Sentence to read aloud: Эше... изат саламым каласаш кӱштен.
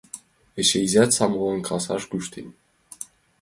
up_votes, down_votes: 0, 2